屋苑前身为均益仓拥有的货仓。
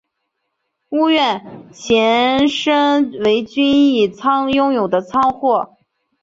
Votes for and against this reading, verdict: 0, 2, rejected